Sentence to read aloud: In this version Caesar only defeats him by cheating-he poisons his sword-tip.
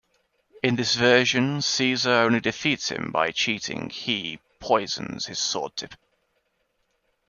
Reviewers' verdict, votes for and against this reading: accepted, 2, 0